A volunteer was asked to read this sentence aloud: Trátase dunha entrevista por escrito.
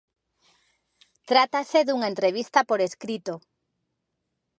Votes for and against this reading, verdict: 3, 0, accepted